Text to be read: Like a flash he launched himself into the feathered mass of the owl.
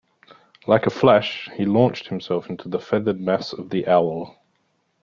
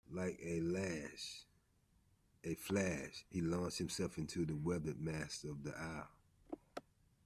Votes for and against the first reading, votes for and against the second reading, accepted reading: 2, 0, 0, 2, first